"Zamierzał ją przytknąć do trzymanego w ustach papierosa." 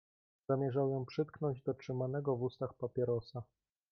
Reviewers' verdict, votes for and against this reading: accepted, 2, 0